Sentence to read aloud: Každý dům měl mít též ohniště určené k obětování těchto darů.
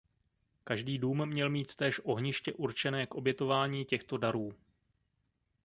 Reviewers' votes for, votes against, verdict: 1, 2, rejected